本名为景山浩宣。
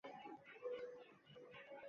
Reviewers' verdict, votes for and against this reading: rejected, 0, 2